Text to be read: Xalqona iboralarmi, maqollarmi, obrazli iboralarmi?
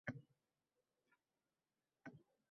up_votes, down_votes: 0, 2